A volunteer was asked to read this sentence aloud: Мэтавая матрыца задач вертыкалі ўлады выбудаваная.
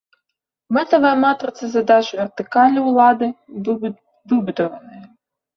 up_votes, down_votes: 0, 2